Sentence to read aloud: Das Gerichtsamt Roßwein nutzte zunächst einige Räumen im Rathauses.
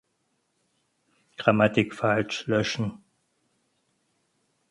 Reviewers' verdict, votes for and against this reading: rejected, 0, 6